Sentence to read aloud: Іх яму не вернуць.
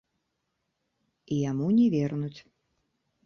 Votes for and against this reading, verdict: 0, 2, rejected